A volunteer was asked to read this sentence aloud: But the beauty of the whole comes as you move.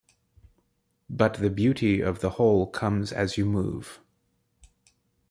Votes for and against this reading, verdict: 2, 0, accepted